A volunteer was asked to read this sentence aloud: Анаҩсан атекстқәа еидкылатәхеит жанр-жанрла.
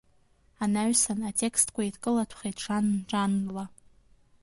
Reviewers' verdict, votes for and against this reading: accepted, 2, 0